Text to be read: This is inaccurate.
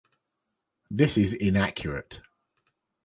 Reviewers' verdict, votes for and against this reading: accepted, 2, 1